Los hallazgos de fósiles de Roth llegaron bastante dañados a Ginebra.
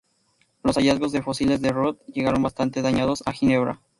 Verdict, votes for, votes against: accepted, 4, 0